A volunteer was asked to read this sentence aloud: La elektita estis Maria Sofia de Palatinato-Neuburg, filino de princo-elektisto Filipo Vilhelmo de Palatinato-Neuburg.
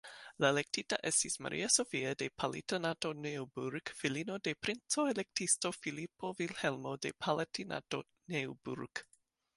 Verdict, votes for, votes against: rejected, 1, 2